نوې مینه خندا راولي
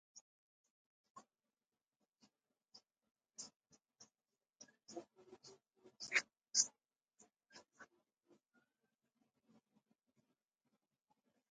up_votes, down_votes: 0, 2